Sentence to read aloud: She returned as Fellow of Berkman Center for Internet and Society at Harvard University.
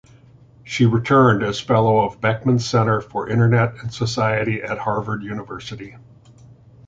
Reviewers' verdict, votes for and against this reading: rejected, 1, 2